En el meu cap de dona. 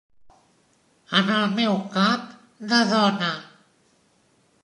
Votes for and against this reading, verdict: 2, 1, accepted